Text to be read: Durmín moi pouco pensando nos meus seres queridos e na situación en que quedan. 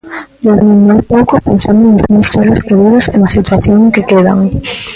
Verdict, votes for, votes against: rejected, 0, 2